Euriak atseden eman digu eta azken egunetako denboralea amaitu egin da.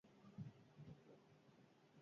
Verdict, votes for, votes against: rejected, 0, 4